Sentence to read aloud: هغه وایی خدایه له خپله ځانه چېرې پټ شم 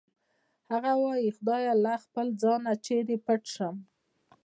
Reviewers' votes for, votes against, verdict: 2, 0, accepted